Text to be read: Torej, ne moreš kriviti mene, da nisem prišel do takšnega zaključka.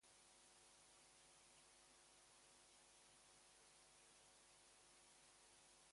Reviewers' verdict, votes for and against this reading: rejected, 0, 4